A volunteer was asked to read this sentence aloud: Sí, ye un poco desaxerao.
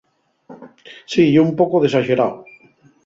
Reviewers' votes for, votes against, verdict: 2, 2, rejected